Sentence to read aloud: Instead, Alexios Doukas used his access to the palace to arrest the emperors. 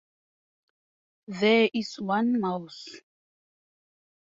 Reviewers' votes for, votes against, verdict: 0, 4, rejected